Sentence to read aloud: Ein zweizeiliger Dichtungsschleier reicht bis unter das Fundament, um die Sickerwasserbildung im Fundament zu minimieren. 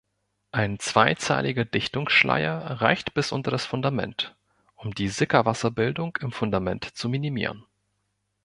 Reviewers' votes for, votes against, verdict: 1, 2, rejected